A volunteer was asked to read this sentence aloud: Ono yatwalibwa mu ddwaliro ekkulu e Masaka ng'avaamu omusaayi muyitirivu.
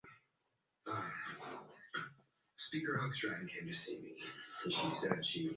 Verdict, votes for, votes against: rejected, 0, 2